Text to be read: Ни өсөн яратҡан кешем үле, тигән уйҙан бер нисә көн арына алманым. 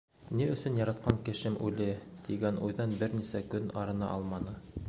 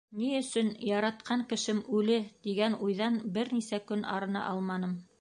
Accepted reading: first